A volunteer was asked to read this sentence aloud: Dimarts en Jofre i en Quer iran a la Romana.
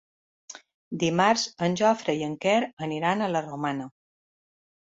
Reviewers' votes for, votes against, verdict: 3, 2, accepted